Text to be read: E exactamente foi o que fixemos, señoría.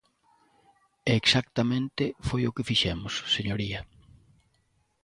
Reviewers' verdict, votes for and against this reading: accepted, 2, 0